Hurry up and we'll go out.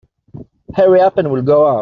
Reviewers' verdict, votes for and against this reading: rejected, 1, 2